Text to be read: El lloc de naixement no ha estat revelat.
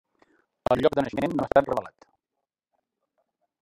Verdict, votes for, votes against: rejected, 0, 2